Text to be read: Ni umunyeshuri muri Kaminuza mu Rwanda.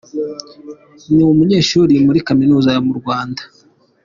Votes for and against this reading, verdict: 3, 0, accepted